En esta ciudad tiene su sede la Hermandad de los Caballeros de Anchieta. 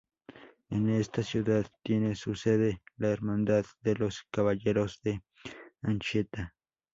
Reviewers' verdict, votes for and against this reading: rejected, 0, 2